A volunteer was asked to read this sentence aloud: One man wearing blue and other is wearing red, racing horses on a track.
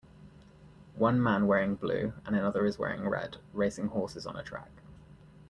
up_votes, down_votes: 1, 2